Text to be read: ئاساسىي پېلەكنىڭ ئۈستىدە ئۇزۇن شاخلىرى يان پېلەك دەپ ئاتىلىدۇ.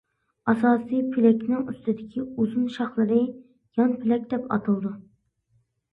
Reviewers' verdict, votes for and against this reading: rejected, 0, 2